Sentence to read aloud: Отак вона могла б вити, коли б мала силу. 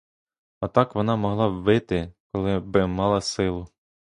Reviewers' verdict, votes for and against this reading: rejected, 0, 2